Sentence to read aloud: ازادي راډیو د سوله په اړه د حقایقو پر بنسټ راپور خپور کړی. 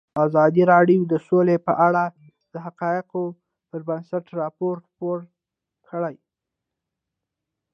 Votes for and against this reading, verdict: 2, 0, accepted